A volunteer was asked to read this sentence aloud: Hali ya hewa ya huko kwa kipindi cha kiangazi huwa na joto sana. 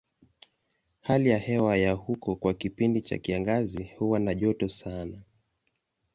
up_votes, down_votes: 2, 0